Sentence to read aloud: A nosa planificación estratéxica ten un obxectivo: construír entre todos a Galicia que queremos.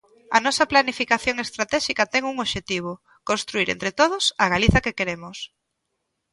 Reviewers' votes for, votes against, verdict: 0, 2, rejected